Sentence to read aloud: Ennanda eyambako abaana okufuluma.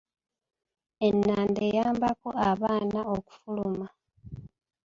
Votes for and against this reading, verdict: 2, 0, accepted